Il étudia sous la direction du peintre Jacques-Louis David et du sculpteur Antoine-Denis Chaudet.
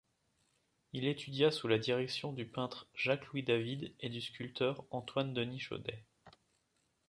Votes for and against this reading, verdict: 2, 0, accepted